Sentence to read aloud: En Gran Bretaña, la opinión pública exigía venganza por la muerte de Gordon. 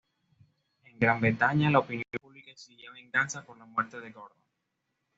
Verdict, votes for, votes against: rejected, 1, 2